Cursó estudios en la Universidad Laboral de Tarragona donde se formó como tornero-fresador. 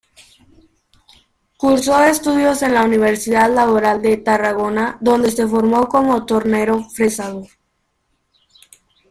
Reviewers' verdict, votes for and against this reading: accepted, 2, 0